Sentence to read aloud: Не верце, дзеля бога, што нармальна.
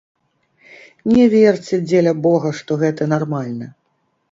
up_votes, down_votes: 1, 2